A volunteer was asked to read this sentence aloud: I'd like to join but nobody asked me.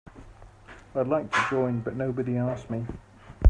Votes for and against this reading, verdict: 2, 0, accepted